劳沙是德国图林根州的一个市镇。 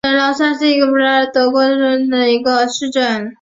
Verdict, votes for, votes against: rejected, 0, 3